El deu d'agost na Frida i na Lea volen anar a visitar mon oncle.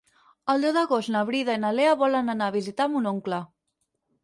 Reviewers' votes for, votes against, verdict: 2, 4, rejected